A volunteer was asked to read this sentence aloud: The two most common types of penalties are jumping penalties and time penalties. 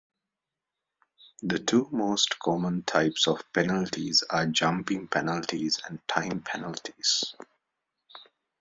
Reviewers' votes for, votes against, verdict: 2, 0, accepted